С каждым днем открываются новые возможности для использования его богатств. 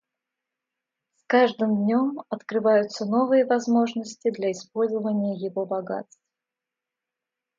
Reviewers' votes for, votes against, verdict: 2, 0, accepted